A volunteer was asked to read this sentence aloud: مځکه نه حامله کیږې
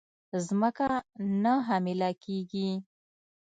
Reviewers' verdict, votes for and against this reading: rejected, 1, 2